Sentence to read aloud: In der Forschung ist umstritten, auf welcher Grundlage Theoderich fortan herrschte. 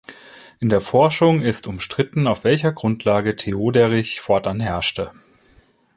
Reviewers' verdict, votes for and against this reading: accepted, 2, 1